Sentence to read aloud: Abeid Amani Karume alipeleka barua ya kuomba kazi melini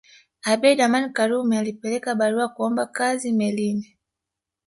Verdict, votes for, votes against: rejected, 1, 2